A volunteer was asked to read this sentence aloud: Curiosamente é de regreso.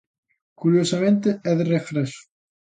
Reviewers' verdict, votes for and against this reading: accepted, 2, 0